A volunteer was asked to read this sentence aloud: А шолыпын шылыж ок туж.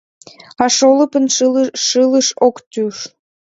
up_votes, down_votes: 1, 2